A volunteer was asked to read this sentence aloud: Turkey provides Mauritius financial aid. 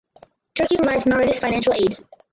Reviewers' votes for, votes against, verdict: 0, 2, rejected